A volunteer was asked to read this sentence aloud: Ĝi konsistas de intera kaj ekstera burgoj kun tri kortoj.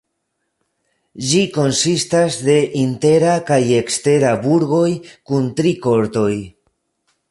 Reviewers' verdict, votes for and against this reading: accepted, 3, 0